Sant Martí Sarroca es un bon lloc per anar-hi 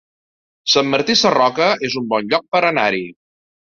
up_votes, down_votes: 3, 0